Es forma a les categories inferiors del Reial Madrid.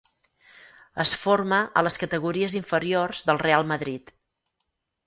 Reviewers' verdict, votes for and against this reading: rejected, 0, 4